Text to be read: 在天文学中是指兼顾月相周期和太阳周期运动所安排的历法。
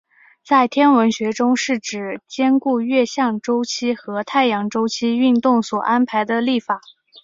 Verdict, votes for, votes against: accepted, 9, 0